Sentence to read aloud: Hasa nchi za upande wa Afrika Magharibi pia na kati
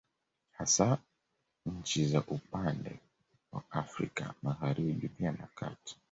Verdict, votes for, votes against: accepted, 2, 1